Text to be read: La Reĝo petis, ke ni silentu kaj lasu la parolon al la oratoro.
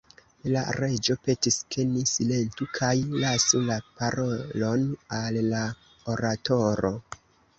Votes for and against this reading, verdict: 1, 2, rejected